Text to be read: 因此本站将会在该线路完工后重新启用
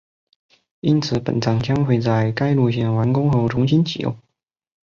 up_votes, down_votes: 2, 3